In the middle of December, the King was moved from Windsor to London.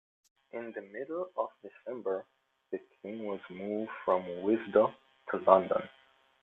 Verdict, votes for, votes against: accepted, 2, 1